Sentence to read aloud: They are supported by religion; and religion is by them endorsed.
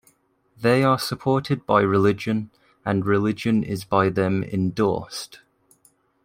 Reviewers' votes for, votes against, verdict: 2, 0, accepted